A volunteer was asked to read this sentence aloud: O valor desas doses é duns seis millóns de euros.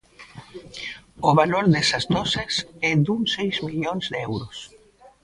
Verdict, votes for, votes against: accepted, 2, 0